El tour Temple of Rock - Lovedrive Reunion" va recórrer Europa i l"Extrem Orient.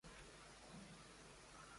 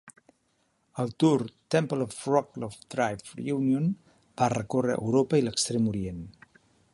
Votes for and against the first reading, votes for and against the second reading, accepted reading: 0, 2, 2, 0, second